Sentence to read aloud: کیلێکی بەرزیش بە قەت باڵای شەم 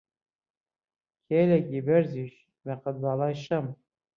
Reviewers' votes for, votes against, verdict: 1, 2, rejected